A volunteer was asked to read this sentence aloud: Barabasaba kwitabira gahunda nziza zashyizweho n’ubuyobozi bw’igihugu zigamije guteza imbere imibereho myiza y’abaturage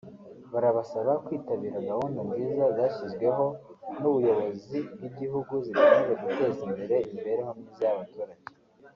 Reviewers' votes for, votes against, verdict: 2, 0, accepted